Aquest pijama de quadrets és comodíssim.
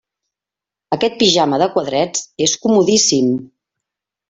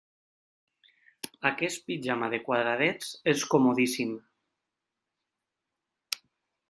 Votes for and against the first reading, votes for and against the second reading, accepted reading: 3, 0, 0, 2, first